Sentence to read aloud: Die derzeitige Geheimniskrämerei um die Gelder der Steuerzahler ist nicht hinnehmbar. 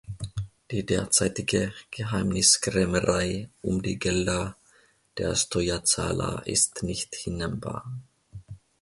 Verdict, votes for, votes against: accepted, 2, 0